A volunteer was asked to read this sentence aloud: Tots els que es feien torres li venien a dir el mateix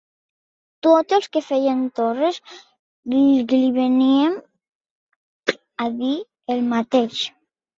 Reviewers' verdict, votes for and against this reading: rejected, 0, 2